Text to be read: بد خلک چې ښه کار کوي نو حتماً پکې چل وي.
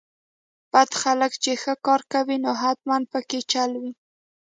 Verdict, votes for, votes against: accepted, 2, 0